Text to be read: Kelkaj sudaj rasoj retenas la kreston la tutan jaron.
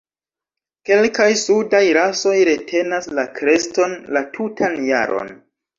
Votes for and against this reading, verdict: 2, 0, accepted